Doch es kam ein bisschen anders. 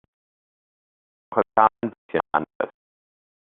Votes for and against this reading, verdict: 0, 2, rejected